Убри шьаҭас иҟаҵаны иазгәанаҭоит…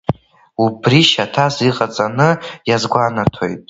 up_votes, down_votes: 2, 1